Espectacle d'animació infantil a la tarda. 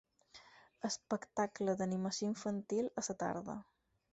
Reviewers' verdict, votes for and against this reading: rejected, 0, 4